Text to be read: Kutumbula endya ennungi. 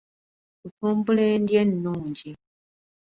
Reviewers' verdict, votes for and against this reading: rejected, 0, 2